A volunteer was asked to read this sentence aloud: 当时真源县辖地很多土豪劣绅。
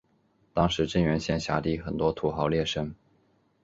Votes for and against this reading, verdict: 3, 0, accepted